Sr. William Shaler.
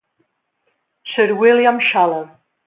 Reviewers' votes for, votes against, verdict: 2, 3, rejected